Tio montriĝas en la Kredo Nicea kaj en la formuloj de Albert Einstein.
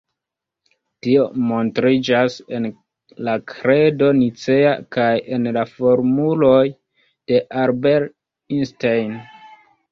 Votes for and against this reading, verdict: 1, 2, rejected